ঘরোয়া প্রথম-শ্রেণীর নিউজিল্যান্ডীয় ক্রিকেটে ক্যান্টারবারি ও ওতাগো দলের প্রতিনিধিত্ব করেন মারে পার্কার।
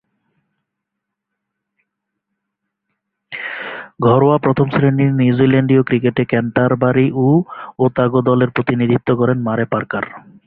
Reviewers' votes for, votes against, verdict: 2, 0, accepted